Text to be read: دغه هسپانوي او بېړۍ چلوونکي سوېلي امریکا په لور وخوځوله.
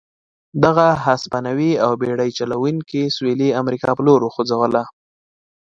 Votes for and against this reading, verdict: 2, 0, accepted